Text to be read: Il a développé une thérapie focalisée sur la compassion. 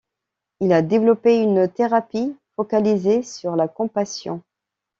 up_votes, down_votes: 2, 0